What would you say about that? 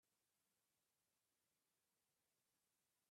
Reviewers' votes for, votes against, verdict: 0, 2, rejected